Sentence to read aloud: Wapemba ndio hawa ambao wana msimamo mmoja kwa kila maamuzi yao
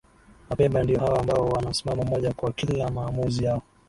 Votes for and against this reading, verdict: 2, 2, rejected